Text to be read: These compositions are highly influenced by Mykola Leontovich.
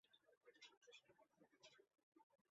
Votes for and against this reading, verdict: 0, 2, rejected